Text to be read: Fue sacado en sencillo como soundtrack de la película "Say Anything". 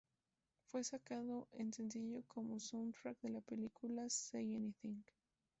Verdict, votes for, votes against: accepted, 2, 0